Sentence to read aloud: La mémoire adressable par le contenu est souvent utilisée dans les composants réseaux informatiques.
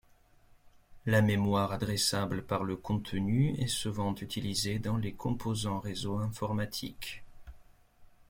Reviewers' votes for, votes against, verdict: 2, 0, accepted